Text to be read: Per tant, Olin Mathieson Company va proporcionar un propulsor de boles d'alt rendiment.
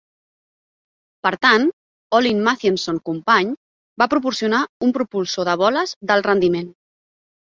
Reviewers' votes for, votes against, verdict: 1, 2, rejected